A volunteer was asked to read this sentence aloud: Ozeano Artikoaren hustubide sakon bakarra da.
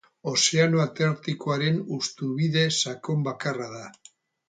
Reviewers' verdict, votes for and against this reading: rejected, 2, 2